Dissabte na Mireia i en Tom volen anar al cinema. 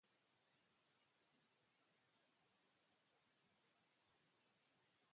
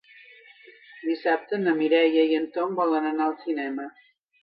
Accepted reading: second